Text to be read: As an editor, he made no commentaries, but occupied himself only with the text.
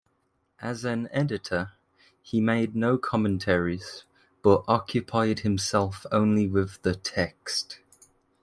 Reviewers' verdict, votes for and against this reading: accepted, 2, 1